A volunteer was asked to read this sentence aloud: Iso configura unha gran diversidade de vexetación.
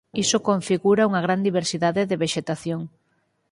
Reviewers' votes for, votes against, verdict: 4, 0, accepted